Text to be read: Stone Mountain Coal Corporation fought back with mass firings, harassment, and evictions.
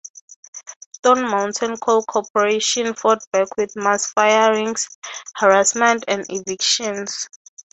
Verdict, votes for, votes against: accepted, 3, 0